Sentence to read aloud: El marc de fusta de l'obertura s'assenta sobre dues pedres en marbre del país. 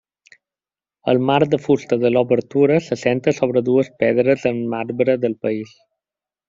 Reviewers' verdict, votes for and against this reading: rejected, 1, 2